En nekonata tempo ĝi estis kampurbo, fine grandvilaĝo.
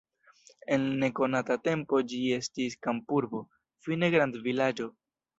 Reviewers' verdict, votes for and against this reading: accepted, 2, 0